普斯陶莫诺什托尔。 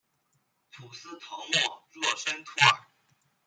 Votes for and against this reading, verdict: 0, 2, rejected